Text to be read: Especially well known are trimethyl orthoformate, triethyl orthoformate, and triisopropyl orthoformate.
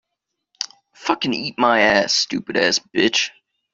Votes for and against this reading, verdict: 0, 2, rejected